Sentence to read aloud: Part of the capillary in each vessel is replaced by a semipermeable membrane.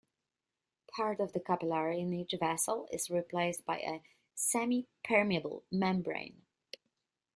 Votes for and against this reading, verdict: 2, 0, accepted